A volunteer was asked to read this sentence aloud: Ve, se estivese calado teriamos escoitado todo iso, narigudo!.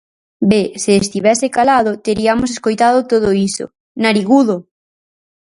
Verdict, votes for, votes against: accepted, 4, 0